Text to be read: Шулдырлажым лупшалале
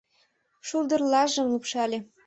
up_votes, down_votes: 0, 2